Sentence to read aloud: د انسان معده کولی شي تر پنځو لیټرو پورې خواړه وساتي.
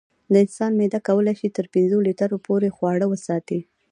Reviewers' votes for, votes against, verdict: 2, 0, accepted